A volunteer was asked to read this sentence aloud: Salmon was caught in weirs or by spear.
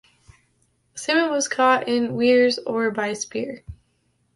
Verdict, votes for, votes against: accepted, 2, 0